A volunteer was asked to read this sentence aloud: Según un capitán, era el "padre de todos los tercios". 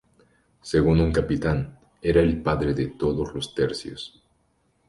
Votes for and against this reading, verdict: 0, 2, rejected